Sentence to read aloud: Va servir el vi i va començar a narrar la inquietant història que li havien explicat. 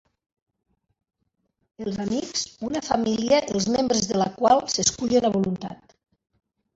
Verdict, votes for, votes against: rejected, 0, 2